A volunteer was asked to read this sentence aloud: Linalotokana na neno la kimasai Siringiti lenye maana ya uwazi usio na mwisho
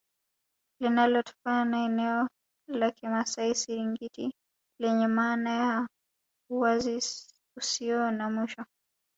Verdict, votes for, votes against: rejected, 1, 5